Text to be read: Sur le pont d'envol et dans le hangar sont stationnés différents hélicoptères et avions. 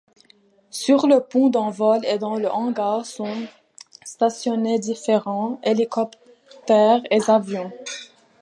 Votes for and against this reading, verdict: 0, 2, rejected